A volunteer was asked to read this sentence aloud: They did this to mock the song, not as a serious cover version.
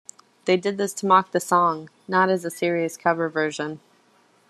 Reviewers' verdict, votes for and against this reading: accepted, 2, 0